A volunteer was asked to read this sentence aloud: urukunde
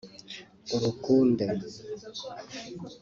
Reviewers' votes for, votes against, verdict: 3, 0, accepted